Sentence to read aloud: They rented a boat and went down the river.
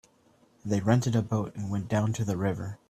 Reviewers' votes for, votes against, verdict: 0, 2, rejected